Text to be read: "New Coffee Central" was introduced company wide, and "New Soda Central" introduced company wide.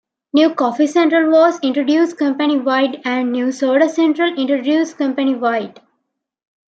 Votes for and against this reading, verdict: 2, 1, accepted